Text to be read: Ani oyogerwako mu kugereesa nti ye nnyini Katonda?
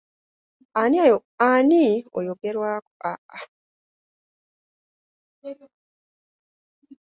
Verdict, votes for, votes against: rejected, 0, 2